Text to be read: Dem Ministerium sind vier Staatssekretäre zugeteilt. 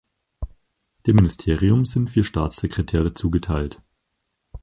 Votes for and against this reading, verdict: 4, 2, accepted